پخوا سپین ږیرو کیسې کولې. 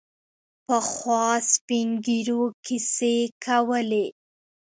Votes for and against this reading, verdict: 2, 1, accepted